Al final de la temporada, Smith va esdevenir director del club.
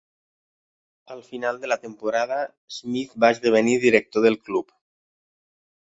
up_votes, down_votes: 3, 0